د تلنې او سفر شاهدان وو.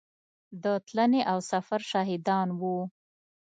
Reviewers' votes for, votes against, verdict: 1, 2, rejected